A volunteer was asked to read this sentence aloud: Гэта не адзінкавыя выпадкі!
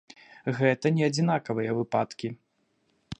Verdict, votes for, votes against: rejected, 0, 2